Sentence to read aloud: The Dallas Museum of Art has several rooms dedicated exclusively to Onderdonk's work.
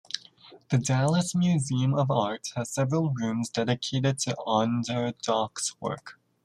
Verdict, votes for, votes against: rejected, 1, 2